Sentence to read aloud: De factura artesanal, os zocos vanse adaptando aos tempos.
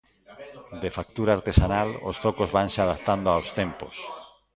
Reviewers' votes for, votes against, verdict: 2, 1, accepted